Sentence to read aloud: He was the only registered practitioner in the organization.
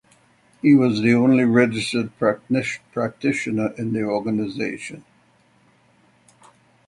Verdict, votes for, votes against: rejected, 3, 6